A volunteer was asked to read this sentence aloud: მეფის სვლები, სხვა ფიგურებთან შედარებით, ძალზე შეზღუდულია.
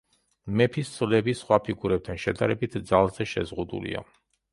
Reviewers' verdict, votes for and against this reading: accepted, 2, 0